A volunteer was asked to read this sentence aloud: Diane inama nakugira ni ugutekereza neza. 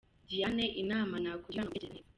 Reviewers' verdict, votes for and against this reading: accepted, 2, 1